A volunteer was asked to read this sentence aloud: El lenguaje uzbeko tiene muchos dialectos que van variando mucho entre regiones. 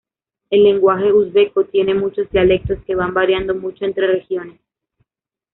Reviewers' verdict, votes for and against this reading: rejected, 1, 2